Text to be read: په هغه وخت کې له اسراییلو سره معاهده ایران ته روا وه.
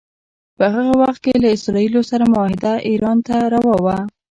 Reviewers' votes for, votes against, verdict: 1, 2, rejected